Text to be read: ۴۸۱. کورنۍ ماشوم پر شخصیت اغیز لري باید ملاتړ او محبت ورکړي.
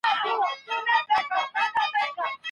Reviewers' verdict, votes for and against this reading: rejected, 0, 2